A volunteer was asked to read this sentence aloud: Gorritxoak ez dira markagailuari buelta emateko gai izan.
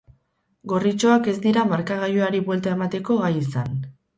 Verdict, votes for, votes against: accepted, 2, 0